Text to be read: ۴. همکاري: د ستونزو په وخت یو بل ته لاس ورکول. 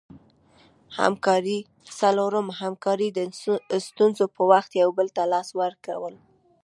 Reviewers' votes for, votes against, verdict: 0, 2, rejected